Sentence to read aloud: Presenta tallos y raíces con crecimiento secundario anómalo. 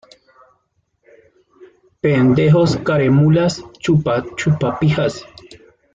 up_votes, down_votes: 0, 2